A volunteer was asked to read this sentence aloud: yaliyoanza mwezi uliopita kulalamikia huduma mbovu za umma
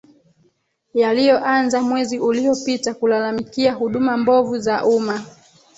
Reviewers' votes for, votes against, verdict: 3, 0, accepted